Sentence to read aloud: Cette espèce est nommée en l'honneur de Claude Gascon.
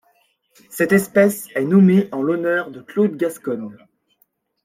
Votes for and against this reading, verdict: 1, 2, rejected